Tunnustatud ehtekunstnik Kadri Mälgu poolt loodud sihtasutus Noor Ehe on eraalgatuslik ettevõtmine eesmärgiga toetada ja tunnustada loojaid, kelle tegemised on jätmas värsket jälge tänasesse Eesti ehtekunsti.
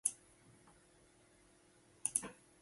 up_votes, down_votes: 0, 2